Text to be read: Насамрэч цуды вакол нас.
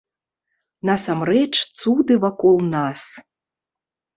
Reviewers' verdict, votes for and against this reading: accepted, 2, 0